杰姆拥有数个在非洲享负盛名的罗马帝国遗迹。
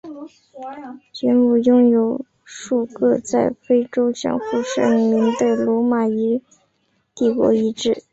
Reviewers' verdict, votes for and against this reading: rejected, 0, 2